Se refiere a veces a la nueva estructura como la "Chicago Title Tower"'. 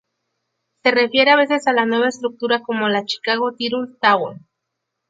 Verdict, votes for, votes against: rejected, 0, 2